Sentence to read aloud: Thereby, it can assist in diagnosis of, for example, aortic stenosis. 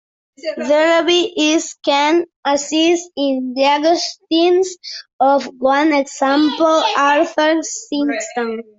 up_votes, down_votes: 0, 2